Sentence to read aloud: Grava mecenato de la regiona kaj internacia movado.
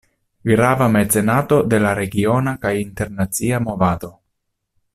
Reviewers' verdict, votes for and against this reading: accepted, 2, 0